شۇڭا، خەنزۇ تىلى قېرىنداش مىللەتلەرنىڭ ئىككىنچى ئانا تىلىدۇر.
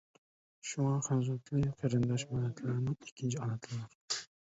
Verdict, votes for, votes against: rejected, 1, 2